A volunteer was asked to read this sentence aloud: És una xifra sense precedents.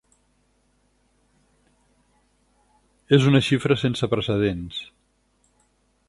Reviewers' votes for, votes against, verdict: 6, 0, accepted